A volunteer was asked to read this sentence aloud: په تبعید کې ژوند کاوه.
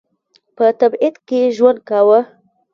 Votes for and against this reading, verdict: 1, 2, rejected